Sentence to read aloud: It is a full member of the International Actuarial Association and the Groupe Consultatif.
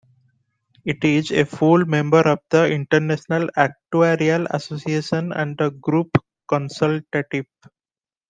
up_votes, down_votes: 2, 0